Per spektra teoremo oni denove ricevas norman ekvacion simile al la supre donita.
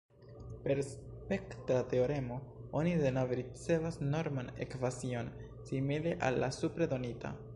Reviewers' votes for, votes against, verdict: 0, 2, rejected